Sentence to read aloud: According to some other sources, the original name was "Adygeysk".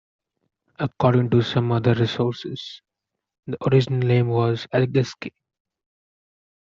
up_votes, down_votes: 0, 2